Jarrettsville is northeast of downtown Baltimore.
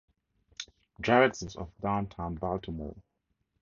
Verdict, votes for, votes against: rejected, 0, 2